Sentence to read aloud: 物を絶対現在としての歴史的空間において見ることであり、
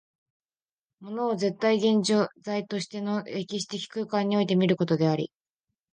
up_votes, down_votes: 1, 2